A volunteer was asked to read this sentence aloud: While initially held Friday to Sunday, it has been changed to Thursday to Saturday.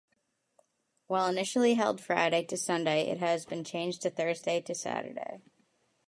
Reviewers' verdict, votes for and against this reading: accepted, 2, 1